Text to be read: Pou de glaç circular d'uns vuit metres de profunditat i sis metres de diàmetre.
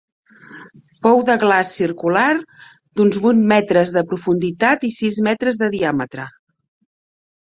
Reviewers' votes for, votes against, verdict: 2, 0, accepted